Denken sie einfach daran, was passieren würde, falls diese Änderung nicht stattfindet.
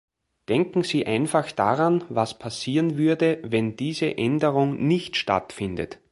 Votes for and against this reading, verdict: 1, 3, rejected